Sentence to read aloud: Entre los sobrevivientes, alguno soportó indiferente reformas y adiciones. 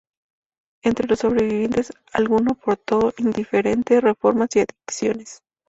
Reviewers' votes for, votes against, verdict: 0, 2, rejected